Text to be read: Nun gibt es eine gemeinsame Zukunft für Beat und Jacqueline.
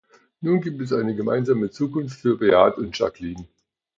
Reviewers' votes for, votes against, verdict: 2, 1, accepted